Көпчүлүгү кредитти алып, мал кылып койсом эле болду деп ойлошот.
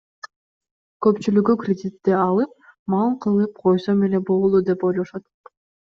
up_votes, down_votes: 2, 0